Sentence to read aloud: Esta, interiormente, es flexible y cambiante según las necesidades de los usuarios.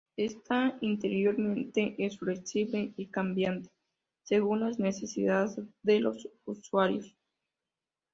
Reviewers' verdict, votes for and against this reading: accepted, 2, 0